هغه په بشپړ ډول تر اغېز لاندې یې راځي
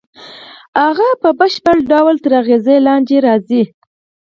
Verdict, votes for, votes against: accepted, 4, 0